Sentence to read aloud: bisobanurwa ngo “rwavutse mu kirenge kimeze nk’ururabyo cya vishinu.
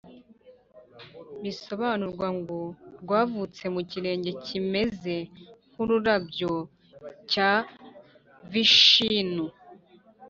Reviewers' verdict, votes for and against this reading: rejected, 1, 2